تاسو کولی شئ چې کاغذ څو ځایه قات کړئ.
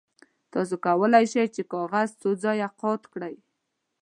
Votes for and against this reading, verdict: 2, 0, accepted